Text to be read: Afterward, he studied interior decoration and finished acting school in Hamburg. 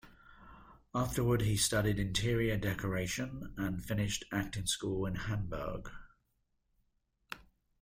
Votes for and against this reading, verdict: 2, 0, accepted